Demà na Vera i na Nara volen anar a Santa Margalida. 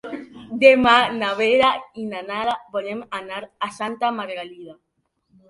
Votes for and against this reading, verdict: 1, 2, rejected